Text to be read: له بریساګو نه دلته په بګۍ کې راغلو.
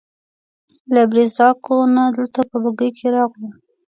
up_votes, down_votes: 1, 2